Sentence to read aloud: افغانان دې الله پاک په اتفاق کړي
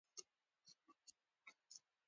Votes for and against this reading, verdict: 0, 2, rejected